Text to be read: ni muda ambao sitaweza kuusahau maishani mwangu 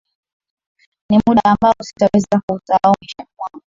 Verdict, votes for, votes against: accepted, 2, 1